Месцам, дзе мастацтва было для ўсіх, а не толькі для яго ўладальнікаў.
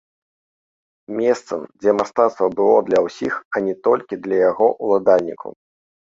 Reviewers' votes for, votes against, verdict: 2, 1, accepted